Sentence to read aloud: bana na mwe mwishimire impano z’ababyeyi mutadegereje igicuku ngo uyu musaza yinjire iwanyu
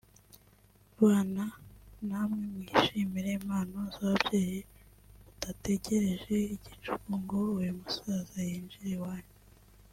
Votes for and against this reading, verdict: 0, 2, rejected